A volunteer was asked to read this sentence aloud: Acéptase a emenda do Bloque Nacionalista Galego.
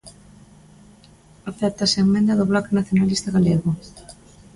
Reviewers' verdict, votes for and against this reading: rejected, 0, 2